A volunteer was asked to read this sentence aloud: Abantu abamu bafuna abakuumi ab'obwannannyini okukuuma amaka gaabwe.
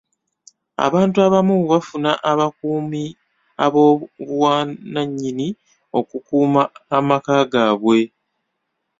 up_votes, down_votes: 1, 2